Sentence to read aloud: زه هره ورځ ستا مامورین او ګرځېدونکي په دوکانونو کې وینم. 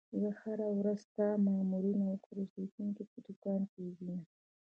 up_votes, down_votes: 1, 2